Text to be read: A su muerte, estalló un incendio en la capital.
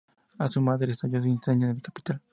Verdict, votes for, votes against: rejected, 0, 2